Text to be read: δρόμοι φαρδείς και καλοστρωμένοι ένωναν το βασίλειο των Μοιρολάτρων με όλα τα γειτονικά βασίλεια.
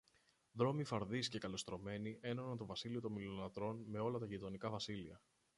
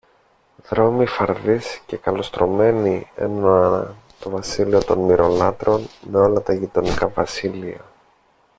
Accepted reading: first